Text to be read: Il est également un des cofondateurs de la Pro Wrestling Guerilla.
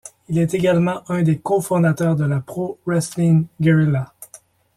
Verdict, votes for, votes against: accepted, 2, 0